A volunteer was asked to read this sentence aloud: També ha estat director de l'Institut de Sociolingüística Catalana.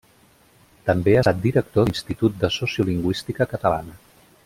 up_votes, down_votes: 1, 2